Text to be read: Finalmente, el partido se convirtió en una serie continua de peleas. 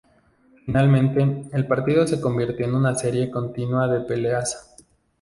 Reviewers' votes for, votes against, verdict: 0, 2, rejected